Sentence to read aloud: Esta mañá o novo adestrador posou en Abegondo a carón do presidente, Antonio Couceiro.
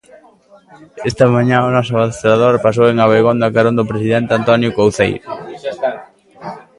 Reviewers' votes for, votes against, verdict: 0, 2, rejected